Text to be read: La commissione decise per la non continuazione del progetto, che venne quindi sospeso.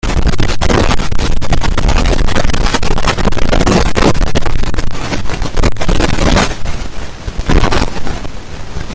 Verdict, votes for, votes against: rejected, 0, 2